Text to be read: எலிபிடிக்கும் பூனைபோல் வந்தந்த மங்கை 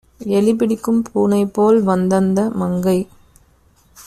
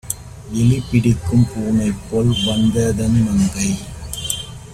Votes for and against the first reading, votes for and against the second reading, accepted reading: 2, 0, 1, 2, first